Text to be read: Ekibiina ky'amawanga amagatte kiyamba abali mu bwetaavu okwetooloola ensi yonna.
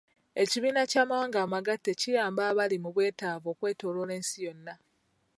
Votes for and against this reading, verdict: 0, 2, rejected